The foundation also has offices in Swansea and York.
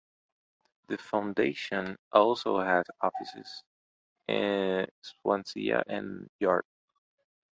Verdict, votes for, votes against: rejected, 1, 2